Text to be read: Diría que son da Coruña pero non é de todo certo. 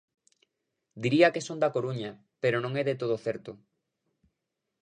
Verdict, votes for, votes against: accepted, 2, 0